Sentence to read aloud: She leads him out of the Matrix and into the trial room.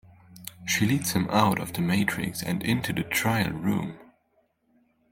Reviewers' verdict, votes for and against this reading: accepted, 2, 0